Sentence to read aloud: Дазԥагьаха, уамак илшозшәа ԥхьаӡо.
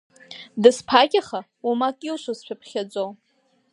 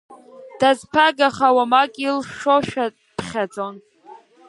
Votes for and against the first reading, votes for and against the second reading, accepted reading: 3, 0, 3, 5, first